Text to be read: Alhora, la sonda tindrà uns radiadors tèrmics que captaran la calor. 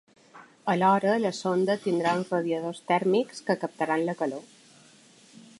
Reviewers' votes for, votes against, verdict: 2, 0, accepted